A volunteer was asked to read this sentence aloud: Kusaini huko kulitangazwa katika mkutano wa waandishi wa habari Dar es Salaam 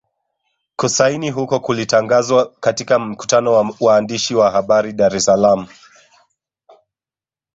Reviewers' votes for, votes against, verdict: 1, 2, rejected